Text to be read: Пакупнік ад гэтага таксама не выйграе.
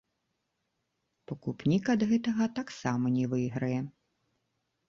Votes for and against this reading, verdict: 1, 2, rejected